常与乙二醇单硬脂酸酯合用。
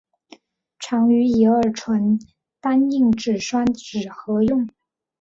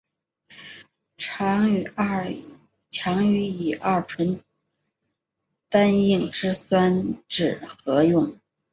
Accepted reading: first